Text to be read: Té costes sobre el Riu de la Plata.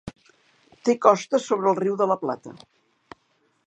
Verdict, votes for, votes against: accepted, 2, 0